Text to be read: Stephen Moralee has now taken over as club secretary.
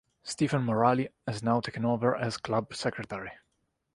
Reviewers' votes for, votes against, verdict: 2, 0, accepted